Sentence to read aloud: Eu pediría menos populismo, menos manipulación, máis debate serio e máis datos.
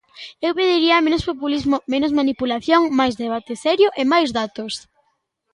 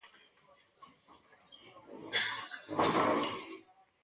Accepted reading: first